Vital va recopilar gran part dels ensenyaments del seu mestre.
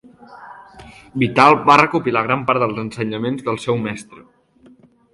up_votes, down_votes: 2, 0